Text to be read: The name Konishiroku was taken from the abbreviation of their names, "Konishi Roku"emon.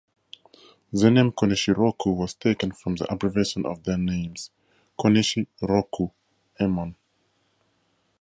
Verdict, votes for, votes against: accepted, 4, 0